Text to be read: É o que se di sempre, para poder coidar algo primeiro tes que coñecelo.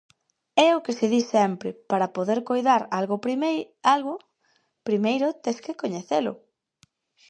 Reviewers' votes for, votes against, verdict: 0, 4, rejected